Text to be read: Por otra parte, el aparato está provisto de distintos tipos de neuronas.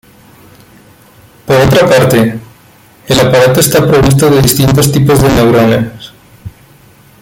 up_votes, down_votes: 1, 2